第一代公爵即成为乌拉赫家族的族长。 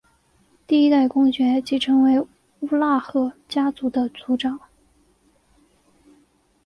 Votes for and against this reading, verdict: 2, 0, accepted